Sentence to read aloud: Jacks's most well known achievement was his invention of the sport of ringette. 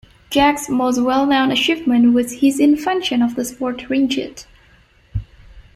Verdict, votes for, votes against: rejected, 0, 2